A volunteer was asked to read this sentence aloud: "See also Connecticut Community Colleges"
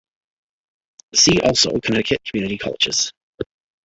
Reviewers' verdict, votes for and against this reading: accepted, 2, 1